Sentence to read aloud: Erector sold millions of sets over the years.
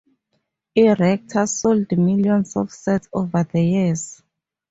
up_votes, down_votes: 2, 4